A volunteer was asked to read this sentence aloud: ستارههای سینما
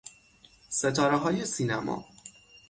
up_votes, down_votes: 6, 0